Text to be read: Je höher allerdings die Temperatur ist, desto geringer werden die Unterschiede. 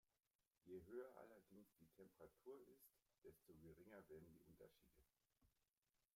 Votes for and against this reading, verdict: 1, 2, rejected